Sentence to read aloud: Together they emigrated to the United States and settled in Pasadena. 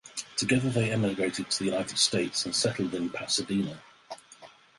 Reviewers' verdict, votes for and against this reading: accepted, 4, 0